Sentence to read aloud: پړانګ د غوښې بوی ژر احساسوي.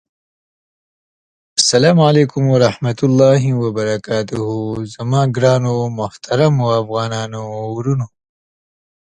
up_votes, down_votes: 0, 2